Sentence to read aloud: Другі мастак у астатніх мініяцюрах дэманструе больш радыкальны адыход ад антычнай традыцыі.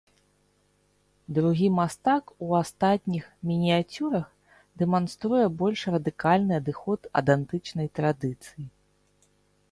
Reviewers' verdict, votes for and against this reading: accepted, 2, 0